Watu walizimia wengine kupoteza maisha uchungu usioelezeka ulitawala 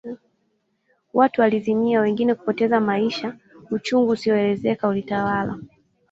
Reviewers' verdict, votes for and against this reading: accepted, 2, 0